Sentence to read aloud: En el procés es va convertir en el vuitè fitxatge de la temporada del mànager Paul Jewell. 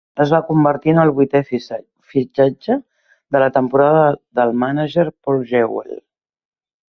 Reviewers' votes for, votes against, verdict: 0, 2, rejected